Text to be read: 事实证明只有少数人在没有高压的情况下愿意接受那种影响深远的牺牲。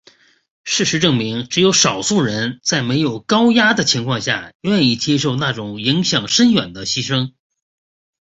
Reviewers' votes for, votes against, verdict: 2, 0, accepted